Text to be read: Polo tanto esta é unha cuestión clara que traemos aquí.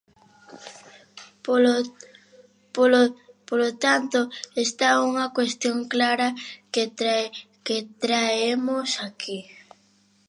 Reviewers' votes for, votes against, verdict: 0, 2, rejected